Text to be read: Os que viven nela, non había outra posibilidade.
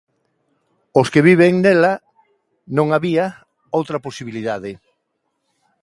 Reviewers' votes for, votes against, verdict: 2, 0, accepted